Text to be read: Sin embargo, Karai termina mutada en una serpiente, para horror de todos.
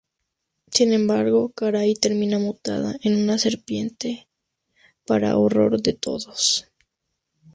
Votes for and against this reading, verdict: 2, 0, accepted